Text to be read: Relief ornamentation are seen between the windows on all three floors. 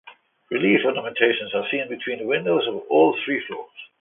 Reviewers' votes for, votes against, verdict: 2, 1, accepted